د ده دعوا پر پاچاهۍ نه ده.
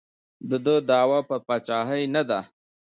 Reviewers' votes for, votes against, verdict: 1, 2, rejected